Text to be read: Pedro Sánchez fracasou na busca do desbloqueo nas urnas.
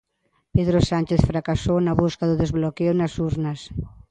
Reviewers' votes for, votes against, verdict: 2, 0, accepted